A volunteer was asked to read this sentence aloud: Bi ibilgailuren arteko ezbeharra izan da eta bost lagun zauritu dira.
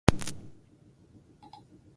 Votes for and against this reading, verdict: 0, 4, rejected